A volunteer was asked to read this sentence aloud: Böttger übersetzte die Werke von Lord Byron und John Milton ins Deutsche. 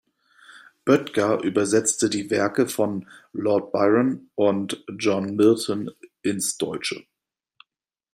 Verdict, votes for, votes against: rejected, 1, 2